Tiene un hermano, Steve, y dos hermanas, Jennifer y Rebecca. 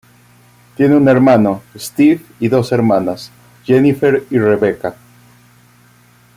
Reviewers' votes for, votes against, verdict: 2, 0, accepted